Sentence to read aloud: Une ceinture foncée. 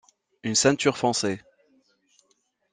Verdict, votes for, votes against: accepted, 2, 0